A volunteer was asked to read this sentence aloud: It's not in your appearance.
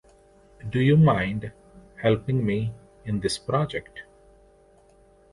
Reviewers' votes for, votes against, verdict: 0, 2, rejected